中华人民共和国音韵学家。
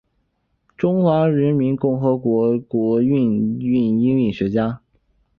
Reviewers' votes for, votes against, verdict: 4, 2, accepted